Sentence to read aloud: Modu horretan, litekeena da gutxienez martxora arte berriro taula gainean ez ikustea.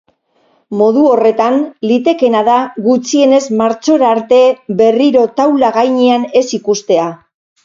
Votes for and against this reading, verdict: 2, 2, rejected